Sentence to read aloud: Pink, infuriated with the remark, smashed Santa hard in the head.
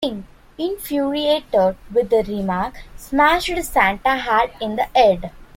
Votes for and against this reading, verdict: 0, 2, rejected